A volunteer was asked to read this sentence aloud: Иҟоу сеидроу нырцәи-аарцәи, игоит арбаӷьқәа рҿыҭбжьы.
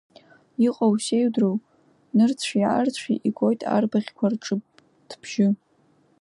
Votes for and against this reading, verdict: 2, 1, accepted